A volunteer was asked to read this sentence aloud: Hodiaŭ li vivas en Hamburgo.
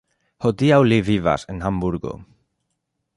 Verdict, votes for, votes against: accepted, 2, 0